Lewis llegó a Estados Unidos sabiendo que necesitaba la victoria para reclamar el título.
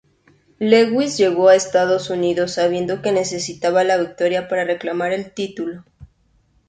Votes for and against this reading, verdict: 4, 0, accepted